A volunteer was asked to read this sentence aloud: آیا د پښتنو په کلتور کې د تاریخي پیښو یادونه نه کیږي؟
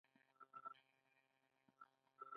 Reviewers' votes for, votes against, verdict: 1, 2, rejected